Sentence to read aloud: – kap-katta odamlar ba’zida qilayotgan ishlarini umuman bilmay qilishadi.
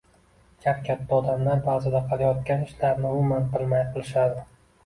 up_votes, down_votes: 2, 0